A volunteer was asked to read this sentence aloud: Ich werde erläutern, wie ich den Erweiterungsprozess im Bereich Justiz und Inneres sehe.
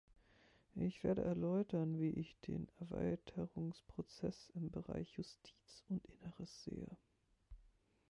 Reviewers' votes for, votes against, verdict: 1, 2, rejected